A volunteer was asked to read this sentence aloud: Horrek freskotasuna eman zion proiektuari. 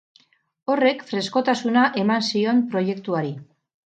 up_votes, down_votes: 2, 2